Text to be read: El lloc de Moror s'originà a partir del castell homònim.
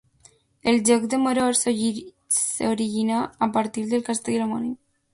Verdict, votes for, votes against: rejected, 1, 2